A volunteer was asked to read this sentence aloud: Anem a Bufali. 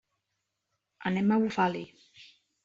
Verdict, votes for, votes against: accepted, 2, 0